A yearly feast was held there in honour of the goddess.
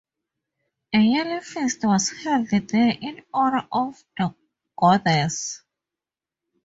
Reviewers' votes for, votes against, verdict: 0, 2, rejected